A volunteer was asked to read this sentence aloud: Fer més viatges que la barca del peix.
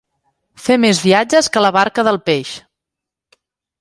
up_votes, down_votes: 2, 0